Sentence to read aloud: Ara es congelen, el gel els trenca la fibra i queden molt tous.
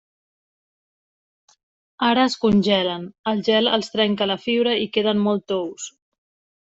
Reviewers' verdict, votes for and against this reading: accepted, 3, 0